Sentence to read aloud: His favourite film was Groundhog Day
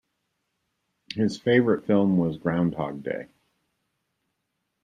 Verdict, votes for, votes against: accepted, 2, 0